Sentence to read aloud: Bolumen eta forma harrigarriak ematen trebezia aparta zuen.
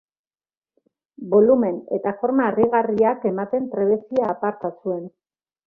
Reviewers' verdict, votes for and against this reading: accepted, 3, 0